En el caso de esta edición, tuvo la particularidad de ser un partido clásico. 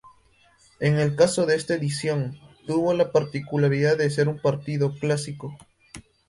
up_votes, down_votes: 2, 0